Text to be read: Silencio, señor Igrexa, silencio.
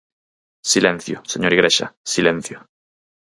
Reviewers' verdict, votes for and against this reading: accepted, 4, 0